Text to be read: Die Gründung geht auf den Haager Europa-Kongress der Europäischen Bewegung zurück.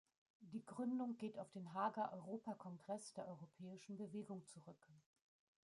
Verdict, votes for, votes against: rejected, 1, 2